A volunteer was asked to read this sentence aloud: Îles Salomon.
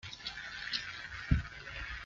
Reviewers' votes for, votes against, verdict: 0, 2, rejected